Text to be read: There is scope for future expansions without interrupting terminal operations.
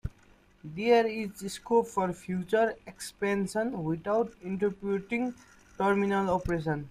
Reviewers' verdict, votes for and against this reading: rejected, 0, 2